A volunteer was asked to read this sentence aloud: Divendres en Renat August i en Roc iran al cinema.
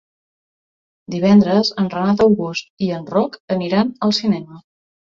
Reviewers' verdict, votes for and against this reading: rejected, 0, 2